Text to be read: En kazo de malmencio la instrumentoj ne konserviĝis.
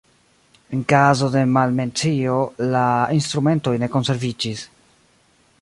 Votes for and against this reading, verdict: 2, 3, rejected